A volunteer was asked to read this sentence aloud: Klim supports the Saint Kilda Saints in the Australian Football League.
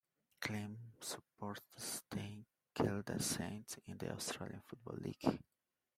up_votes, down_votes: 0, 2